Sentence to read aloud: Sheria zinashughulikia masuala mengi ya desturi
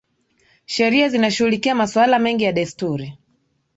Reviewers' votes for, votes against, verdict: 3, 0, accepted